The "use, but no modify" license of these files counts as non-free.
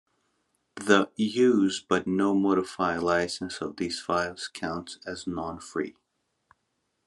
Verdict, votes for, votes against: accepted, 2, 0